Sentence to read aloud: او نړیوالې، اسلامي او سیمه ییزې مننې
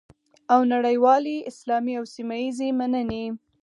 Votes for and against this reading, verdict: 4, 0, accepted